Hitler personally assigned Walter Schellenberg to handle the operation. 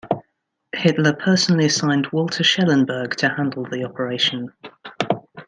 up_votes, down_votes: 2, 0